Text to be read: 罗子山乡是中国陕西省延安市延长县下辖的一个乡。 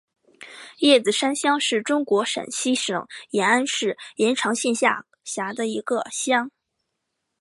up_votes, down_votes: 3, 0